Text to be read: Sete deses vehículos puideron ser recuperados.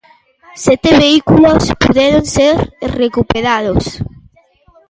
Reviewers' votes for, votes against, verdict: 0, 2, rejected